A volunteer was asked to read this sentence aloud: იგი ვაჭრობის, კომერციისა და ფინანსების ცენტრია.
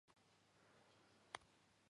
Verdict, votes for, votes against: accepted, 2, 1